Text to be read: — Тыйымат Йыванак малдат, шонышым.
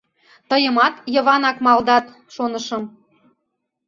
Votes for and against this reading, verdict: 2, 0, accepted